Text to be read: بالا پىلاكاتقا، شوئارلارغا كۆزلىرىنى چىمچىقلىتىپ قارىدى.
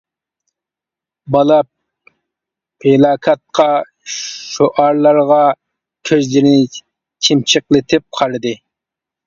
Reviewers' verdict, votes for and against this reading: accepted, 2, 1